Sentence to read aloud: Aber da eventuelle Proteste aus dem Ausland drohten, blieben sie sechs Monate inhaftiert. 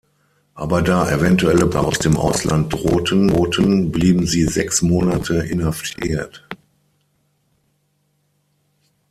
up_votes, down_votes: 0, 6